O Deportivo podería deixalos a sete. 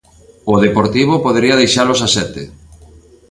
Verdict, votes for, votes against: rejected, 1, 2